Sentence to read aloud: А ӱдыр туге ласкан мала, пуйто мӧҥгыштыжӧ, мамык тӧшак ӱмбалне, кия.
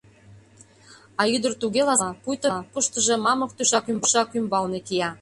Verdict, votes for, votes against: rejected, 0, 2